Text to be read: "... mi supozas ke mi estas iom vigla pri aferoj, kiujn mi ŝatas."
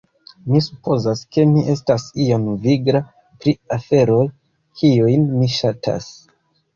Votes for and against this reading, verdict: 1, 2, rejected